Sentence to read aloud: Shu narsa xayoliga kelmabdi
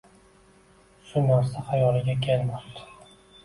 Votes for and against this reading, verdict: 2, 0, accepted